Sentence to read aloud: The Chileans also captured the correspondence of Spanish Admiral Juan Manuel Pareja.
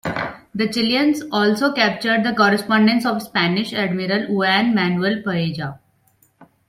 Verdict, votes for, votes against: rejected, 1, 2